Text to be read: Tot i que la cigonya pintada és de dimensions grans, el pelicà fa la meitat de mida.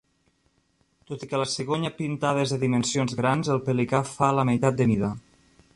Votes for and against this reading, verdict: 2, 0, accepted